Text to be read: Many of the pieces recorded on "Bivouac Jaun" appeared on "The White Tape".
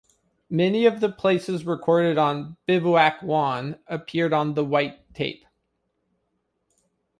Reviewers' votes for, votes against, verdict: 1, 2, rejected